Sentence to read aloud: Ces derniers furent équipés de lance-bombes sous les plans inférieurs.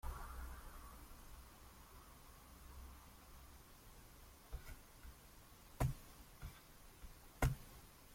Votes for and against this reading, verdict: 0, 2, rejected